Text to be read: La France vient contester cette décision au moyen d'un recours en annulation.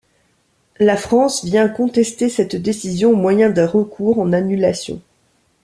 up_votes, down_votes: 2, 0